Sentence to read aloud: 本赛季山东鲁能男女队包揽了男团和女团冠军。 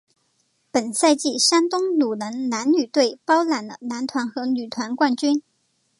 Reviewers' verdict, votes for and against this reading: accepted, 2, 0